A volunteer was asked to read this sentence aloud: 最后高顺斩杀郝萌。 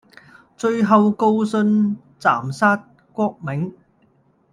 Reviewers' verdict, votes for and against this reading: rejected, 0, 2